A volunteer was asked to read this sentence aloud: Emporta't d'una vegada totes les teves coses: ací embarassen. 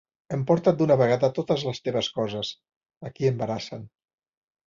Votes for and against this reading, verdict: 0, 2, rejected